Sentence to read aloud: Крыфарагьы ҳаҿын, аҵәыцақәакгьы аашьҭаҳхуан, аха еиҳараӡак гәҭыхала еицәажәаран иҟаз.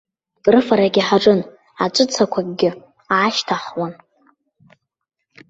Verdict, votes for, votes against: rejected, 0, 2